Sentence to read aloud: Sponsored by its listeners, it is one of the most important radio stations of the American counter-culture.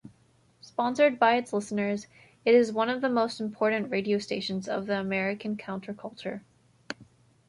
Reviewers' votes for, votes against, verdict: 2, 0, accepted